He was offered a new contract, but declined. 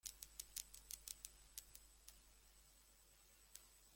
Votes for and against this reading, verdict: 0, 2, rejected